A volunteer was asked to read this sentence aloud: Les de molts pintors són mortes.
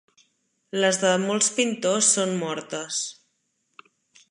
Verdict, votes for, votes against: accepted, 2, 0